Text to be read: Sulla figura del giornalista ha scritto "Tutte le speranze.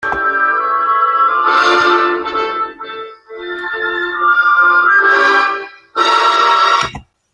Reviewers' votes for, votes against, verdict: 0, 2, rejected